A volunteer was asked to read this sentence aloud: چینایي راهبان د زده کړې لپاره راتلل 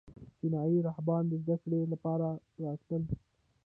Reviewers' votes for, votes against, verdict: 2, 0, accepted